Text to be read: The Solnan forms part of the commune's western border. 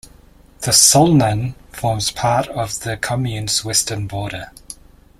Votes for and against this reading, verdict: 2, 0, accepted